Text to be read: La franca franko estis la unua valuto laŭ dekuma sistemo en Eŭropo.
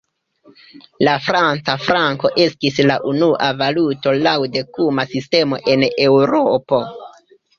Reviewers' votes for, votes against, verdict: 1, 2, rejected